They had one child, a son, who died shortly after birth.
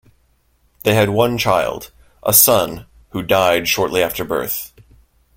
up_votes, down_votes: 2, 0